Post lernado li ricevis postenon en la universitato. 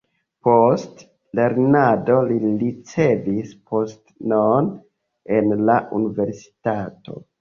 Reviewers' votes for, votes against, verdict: 1, 2, rejected